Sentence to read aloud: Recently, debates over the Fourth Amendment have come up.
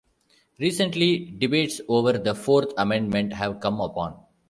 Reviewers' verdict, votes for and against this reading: rejected, 0, 2